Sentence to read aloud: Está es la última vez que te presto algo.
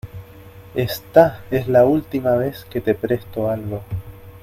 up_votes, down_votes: 2, 0